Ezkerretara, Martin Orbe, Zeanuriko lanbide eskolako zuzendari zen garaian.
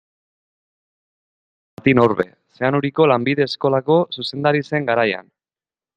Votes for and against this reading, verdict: 0, 3, rejected